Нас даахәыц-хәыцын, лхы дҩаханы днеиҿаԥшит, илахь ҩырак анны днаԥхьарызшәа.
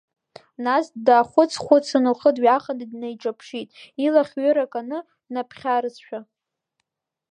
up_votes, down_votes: 0, 2